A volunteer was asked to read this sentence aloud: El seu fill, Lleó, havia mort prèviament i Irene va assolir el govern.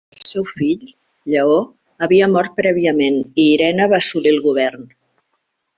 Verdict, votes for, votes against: rejected, 0, 2